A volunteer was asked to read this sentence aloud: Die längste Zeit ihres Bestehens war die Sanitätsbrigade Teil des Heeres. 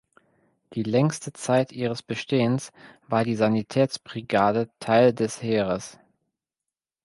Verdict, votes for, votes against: accepted, 2, 0